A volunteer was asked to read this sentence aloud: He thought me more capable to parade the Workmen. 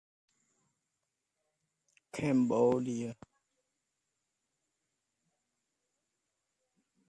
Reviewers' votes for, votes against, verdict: 0, 2, rejected